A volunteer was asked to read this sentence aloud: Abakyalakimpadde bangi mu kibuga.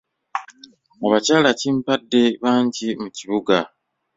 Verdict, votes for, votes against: rejected, 1, 2